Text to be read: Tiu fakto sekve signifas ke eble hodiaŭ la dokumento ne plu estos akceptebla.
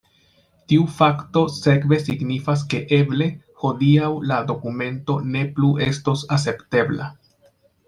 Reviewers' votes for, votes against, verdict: 0, 2, rejected